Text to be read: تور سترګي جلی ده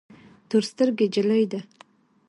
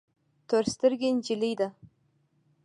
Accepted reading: first